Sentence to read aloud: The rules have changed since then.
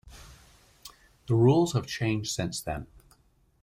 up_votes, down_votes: 2, 0